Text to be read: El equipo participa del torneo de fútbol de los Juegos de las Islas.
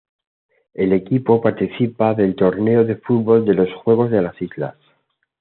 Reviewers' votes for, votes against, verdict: 2, 1, accepted